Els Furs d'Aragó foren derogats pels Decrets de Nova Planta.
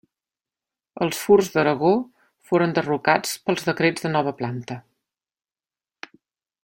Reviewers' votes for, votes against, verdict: 1, 2, rejected